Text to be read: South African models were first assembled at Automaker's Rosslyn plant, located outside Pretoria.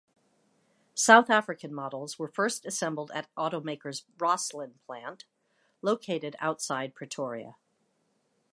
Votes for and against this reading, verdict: 2, 1, accepted